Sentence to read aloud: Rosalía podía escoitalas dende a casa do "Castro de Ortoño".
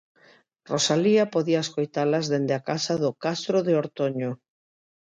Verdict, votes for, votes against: accepted, 2, 0